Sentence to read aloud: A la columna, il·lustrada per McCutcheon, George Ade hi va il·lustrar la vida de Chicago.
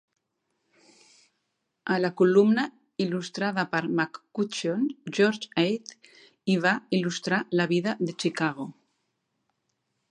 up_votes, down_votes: 2, 0